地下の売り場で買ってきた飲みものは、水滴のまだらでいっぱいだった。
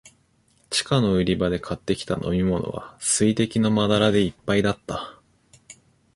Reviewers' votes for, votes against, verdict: 2, 0, accepted